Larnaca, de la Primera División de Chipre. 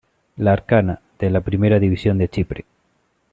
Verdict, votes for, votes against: rejected, 1, 2